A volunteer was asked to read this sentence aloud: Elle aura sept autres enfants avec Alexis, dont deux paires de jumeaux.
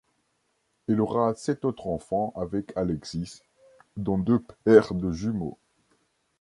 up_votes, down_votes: 1, 2